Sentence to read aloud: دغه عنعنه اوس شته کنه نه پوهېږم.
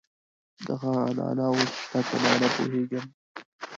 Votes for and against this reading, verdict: 1, 2, rejected